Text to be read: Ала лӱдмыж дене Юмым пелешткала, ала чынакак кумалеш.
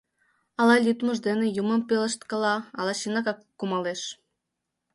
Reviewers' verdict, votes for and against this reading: accepted, 2, 0